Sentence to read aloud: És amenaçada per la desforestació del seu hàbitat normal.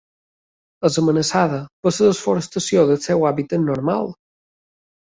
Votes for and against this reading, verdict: 2, 0, accepted